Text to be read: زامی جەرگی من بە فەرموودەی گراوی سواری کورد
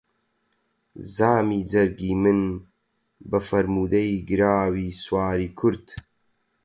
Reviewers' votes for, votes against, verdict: 4, 0, accepted